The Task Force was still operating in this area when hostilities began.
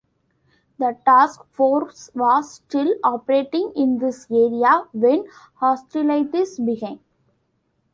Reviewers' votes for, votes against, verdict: 1, 2, rejected